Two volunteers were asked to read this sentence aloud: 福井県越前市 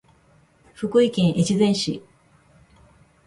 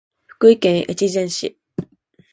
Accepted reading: second